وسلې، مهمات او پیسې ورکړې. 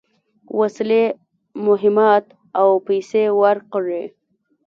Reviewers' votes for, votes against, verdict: 0, 2, rejected